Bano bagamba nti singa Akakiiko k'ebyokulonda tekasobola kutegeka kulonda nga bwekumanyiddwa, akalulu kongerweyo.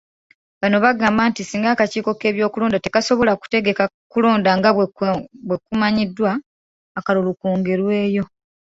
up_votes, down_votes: 2, 1